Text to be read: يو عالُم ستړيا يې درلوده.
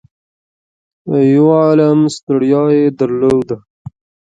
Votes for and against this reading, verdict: 1, 2, rejected